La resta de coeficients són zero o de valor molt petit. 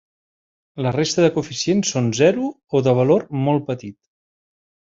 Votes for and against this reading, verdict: 2, 0, accepted